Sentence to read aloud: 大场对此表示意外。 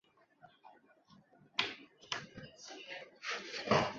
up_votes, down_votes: 0, 5